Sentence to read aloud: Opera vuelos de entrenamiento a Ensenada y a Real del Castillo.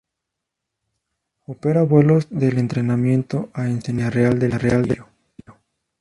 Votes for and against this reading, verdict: 0, 4, rejected